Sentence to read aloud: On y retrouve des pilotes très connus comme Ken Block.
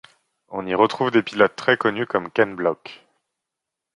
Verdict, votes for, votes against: accepted, 2, 0